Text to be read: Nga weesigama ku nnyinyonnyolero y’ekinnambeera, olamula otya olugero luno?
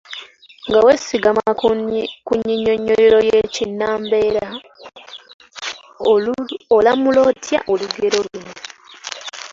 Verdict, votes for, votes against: accepted, 2, 1